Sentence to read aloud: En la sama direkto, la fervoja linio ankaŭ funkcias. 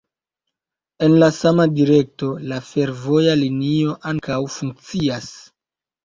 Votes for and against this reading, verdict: 2, 0, accepted